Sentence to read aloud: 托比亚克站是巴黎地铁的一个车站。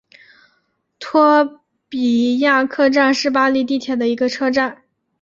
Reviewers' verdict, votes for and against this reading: accepted, 3, 0